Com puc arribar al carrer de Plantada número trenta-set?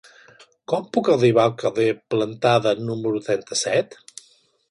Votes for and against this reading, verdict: 1, 2, rejected